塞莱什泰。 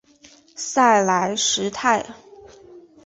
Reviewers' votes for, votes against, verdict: 2, 1, accepted